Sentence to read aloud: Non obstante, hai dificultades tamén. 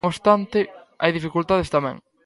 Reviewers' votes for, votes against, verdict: 0, 2, rejected